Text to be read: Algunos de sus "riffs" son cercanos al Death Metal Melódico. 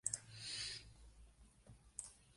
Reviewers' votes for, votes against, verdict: 0, 2, rejected